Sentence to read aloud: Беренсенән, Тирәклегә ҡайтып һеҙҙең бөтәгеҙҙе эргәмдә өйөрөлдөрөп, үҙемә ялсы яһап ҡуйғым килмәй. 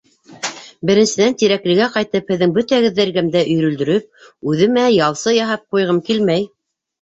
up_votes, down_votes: 1, 2